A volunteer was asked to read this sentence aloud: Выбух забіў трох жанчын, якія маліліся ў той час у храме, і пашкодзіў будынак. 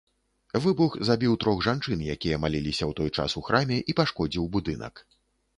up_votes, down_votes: 2, 0